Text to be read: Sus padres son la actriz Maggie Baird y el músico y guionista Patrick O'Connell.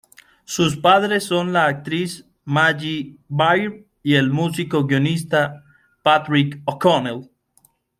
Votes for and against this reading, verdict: 2, 0, accepted